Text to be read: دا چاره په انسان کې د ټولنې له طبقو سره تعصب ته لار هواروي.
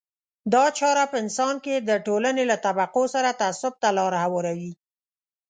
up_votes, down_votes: 2, 0